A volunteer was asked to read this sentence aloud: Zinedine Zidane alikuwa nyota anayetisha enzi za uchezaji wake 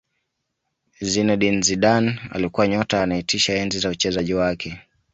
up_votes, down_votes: 2, 0